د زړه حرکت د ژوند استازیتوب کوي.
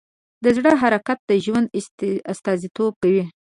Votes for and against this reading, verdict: 1, 2, rejected